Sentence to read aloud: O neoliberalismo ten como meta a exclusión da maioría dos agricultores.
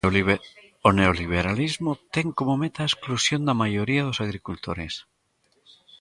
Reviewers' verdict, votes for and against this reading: rejected, 0, 2